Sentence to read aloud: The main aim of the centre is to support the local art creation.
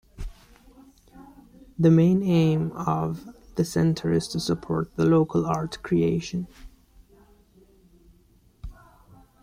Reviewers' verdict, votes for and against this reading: accepted, 2, 0